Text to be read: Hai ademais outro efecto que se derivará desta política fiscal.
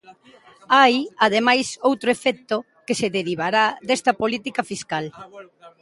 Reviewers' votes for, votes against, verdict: 2, 0, accepted